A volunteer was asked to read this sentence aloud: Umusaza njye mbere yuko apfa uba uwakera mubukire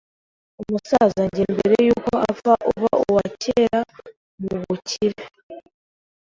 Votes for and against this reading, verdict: 0, 2, rejected